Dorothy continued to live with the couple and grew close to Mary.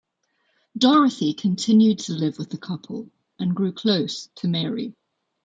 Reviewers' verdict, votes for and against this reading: accepted, 2, 0